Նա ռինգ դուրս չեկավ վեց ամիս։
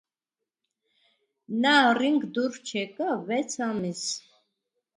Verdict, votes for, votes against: rejected, 1, 2